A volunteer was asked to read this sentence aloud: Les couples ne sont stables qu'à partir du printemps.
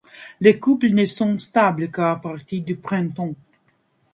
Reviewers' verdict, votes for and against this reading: accepted, 2, 0